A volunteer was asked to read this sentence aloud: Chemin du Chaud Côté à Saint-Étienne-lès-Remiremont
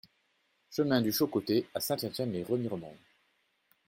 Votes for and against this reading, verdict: 2, 0, accepted